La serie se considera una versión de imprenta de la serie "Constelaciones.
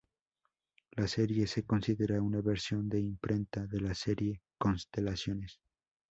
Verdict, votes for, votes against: accepted, 2, 0